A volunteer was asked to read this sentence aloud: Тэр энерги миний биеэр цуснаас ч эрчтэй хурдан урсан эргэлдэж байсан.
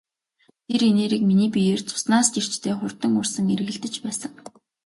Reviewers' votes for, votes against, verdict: 2, 0, accepted